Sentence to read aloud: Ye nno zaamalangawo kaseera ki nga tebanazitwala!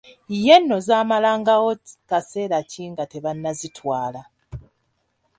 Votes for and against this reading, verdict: 2, 0, accepted